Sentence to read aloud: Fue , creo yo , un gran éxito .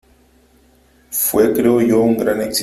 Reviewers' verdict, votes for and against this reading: rejected, 0, 2